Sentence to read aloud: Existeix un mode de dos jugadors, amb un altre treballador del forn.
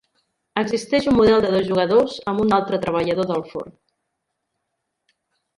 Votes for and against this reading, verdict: 1, 2, rejected